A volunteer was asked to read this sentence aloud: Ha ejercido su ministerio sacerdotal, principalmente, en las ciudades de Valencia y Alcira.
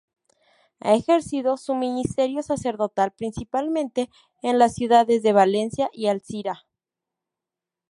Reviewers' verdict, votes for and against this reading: accepted, 2, 0